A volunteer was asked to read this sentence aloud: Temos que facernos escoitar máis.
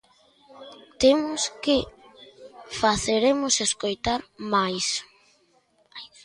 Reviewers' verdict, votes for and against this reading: rejected, 0, 2